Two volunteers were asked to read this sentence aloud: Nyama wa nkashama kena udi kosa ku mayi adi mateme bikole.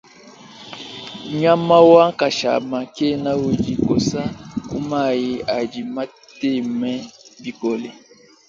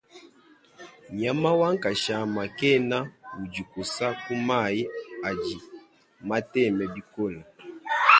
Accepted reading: first